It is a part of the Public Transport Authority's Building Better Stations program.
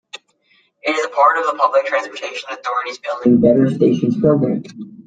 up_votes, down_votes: 0, 2